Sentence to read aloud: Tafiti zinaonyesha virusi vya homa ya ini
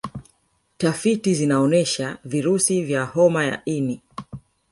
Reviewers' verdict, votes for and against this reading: accepted, 3, 0